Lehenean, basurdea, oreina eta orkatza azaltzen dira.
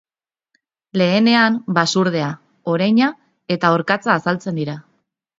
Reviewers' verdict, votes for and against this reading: accepted, 2, 0